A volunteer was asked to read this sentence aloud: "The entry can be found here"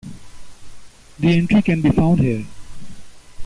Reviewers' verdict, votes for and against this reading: accepted, 2, 1